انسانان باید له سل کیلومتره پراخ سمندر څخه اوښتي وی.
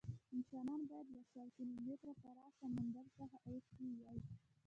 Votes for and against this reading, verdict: 0, 2, rejected